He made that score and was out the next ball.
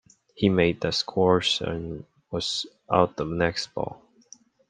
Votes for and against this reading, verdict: 0, 2, rejected